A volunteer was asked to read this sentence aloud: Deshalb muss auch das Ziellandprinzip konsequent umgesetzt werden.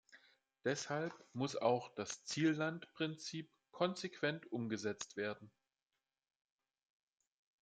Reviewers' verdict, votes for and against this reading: accepted, 2, 0